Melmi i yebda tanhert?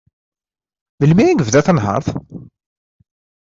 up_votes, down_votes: 2, 0